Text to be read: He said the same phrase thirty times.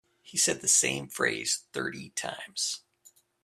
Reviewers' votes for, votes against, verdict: 2, 0, accepted